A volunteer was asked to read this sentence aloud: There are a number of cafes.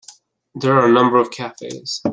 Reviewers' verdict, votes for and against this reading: accepted, 2, 0